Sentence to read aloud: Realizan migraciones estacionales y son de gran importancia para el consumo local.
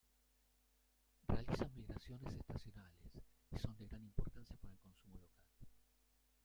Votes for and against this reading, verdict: 0, 2, rejected